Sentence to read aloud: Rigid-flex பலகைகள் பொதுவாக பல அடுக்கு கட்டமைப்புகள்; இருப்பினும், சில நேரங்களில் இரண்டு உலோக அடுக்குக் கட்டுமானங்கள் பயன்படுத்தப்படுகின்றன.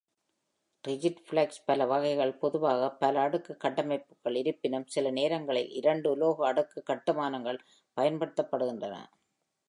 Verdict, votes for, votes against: accepted, 2, 1